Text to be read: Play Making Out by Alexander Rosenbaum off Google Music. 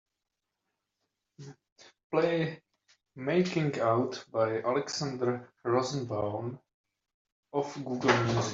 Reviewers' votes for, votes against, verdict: 2, 0, accepted